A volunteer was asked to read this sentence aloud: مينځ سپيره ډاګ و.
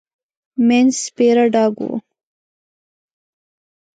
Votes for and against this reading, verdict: 2, 0, accepted